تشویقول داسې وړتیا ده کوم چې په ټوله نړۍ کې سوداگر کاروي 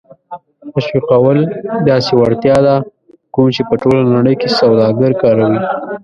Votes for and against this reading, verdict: 0, 2, rejected